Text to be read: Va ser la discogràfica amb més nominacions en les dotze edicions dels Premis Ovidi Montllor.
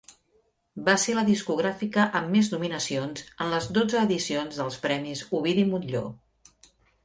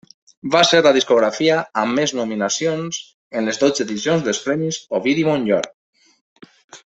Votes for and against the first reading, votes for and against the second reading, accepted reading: 2, 0, 1, 2, first